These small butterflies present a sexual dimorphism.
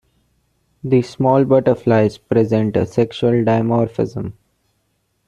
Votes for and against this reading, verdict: 2, 0, accepted